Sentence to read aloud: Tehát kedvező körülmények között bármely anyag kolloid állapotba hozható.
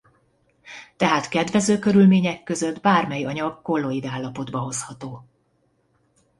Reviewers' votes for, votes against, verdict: 2, 0, accepted